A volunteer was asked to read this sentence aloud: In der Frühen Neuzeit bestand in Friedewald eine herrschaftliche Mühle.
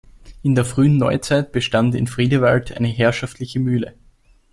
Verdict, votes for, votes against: accepted, 2, 0